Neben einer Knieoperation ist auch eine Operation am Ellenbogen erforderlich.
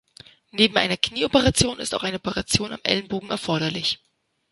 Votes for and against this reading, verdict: 2, 0, accepted